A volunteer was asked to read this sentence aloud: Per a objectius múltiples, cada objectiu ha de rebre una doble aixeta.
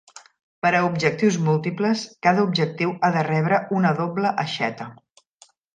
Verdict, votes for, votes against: accepted, 3, 0